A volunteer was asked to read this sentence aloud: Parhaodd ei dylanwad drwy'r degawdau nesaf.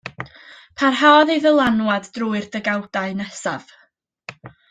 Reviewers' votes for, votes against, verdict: 1, 2, rejected